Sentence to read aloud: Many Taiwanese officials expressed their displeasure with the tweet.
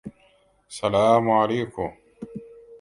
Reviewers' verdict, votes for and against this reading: rejected, 0, 3